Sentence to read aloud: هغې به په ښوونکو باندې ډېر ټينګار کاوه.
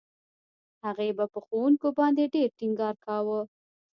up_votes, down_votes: 0, 2